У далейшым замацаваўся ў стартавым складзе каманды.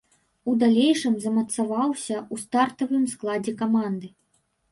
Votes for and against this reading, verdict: 0, 2, rejected